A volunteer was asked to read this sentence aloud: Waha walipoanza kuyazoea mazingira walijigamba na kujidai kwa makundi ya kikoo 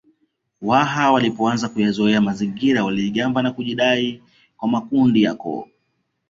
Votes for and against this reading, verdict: 1, 2, rejected